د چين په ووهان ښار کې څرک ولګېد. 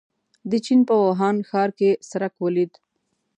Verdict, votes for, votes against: accepted, 2, 0